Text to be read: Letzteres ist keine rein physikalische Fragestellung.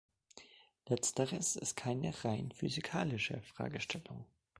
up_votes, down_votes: 1, 3